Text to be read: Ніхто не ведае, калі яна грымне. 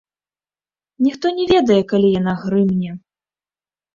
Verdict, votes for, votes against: rejected, 1, 2